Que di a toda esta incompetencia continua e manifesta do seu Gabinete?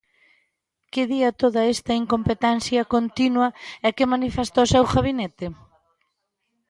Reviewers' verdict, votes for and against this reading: rejected, 0, 3